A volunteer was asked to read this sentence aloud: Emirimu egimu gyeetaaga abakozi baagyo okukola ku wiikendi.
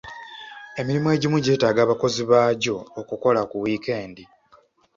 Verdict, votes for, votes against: accepted, 2, 0